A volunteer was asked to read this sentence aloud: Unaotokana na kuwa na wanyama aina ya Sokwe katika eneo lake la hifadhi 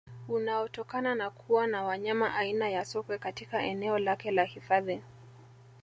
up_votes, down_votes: 3, 0